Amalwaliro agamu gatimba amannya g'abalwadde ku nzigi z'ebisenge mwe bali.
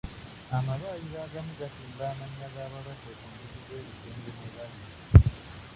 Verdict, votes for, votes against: rejected, 0, 2